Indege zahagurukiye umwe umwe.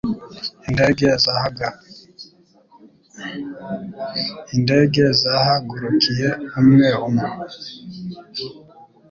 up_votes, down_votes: 2, 3